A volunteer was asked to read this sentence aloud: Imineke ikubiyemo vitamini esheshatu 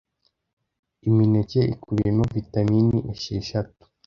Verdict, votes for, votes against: accepted, 2, 0